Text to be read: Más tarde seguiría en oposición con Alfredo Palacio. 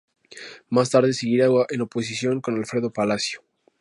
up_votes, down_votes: 2, 0